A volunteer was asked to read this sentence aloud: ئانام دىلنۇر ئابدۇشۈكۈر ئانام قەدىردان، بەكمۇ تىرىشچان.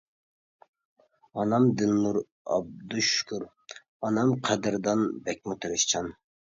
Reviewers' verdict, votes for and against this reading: accepted, 2, 0